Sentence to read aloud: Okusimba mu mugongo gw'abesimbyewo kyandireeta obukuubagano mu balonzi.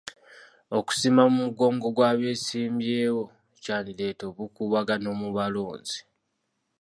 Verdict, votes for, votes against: accepted, 2, 0